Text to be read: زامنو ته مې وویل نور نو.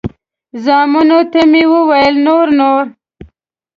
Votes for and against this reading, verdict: 2, 1, accepted